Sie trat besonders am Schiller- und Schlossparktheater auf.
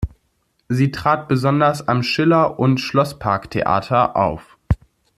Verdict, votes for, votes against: accepted, 2, 0